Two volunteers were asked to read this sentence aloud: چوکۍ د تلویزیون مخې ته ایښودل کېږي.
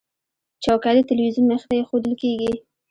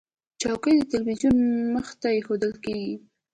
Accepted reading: second